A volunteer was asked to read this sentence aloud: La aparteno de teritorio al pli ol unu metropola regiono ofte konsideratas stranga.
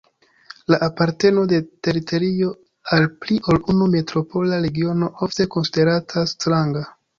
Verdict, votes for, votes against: accepted, 2, 1